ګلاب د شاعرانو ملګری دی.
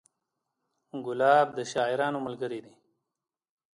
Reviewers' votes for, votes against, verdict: 1, 2, rejected